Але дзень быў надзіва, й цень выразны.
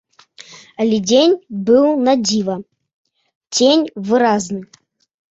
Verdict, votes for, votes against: rejected, 1, 2